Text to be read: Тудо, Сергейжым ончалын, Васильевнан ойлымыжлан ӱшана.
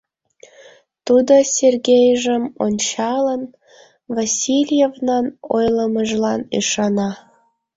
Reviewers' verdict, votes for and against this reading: accepted, 2, 0